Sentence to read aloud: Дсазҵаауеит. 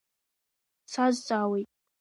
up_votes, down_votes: 2, 0